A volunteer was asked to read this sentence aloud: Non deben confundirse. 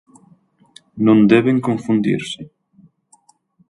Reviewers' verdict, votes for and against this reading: accepted, 4, 0